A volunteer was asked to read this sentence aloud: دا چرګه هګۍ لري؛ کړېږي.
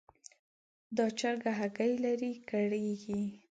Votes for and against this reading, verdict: 2, 0, accepted